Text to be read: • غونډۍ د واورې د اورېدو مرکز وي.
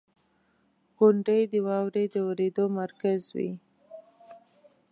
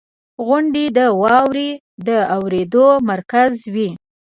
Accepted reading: first